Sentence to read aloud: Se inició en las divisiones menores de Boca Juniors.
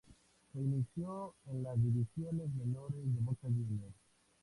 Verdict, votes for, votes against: rejected, 0, 4